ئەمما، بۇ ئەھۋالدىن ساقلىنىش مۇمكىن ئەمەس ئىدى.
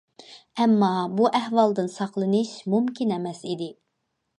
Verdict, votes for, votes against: accepted, 2, 0